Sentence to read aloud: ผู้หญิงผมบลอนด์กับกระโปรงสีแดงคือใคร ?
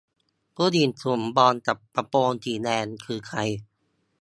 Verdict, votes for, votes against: rejected, 0, 2